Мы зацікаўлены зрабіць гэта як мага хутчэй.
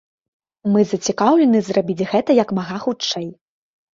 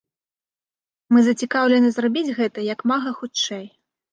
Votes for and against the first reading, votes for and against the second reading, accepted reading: 2, 0, 1, 2, first